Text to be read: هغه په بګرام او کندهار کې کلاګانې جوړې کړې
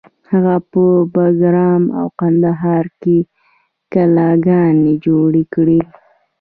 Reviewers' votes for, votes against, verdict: 2, 0, accepted